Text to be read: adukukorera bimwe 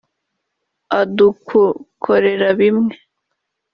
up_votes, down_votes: 1, 3